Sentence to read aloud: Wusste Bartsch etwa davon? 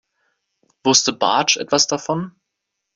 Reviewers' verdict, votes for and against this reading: rejected, 1, 2